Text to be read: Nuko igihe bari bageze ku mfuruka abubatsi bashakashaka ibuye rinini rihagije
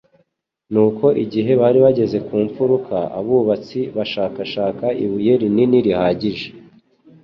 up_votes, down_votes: 2, 0